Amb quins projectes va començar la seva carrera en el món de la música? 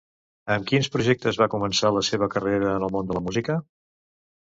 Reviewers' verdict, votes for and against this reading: accepted, 2, 0